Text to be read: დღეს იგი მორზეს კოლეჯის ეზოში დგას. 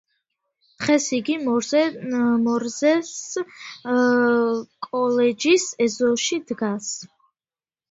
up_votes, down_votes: 0, 2